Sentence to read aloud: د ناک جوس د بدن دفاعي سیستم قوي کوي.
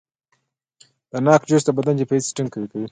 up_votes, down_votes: 2, 1